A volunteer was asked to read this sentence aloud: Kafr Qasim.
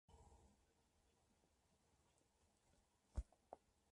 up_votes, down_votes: 0, 2